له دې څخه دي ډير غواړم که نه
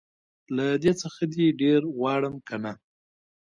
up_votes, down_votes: 2, 0